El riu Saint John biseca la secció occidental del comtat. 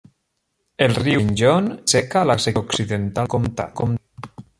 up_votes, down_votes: 0, 2